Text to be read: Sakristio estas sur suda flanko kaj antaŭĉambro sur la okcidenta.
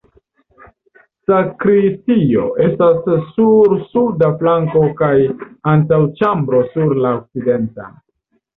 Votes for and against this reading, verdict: 1, 2, rejected